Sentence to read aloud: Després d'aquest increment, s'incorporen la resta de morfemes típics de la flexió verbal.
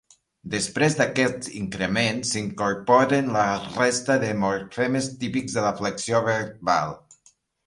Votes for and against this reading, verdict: 0, 2, rejected